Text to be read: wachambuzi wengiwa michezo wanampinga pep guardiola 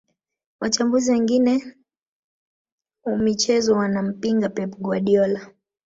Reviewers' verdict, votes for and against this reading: rejected, 0, 2